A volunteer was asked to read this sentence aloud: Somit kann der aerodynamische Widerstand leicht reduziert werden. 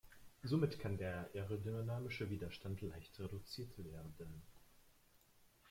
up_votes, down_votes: 0, 2